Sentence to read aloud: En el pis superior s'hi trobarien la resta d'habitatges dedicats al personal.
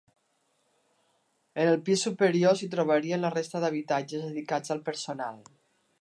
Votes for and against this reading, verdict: 2, 0, accepted